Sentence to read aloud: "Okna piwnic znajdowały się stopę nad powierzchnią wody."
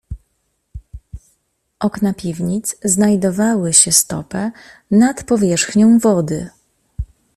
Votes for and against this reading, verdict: 2, 0, accepted